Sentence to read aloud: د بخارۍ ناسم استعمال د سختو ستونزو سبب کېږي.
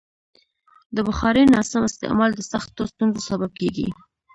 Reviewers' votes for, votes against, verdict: 1, 2, rejected